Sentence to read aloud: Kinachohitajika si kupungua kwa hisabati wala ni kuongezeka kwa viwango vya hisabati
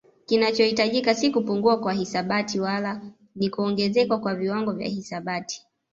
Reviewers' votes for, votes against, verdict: 2, 0, accepted